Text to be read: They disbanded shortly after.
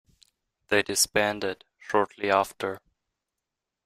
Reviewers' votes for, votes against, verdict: 2, 0, accepted